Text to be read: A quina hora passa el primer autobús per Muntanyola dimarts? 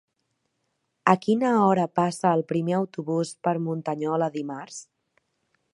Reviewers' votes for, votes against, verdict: 3, 0, accepted